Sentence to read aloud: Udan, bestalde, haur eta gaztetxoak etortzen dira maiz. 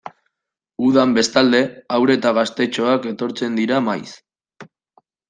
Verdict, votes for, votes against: accepted, 2, 0